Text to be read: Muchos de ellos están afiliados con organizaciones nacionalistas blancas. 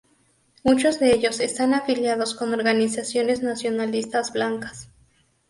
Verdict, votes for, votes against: accepted, 2, 0